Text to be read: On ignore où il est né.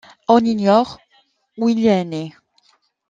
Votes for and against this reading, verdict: 0, 2, rejected